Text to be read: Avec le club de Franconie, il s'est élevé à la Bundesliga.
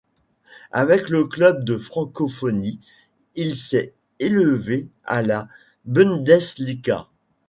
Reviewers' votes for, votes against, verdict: 1, 2, rejected